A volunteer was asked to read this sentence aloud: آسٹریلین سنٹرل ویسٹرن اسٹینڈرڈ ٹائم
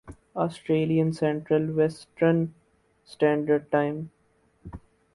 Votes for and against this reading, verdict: 6, 0, accepted